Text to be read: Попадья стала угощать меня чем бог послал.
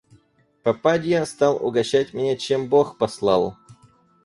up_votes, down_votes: 0, 4